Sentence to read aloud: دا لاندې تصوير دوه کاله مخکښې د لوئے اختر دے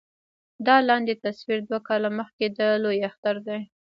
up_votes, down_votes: 0, 2